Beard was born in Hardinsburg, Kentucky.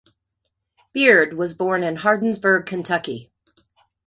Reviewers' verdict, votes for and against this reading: accepted, 2, 0